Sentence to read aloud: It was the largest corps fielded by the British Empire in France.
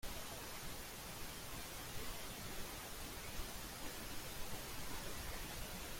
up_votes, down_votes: 0, 3